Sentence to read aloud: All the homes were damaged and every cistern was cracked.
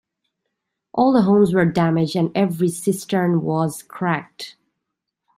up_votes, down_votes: 2, 1